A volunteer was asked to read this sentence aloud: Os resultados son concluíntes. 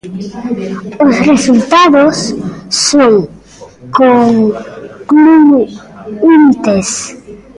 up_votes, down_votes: 0, 2